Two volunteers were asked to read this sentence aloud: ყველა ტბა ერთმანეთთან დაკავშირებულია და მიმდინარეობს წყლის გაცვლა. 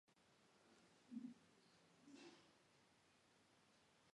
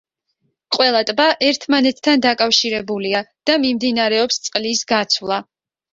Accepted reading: second